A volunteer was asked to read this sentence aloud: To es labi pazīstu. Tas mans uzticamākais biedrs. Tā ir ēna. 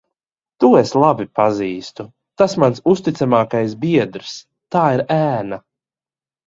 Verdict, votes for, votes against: accepted, 2, 0